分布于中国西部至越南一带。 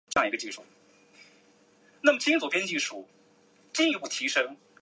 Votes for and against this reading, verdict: 0, 2, rejected